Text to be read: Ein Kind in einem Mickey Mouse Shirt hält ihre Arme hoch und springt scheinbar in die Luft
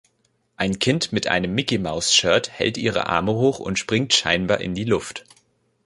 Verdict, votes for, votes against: rejected, 1, 2